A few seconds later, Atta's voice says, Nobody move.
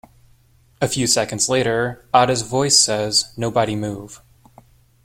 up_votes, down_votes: 2, 0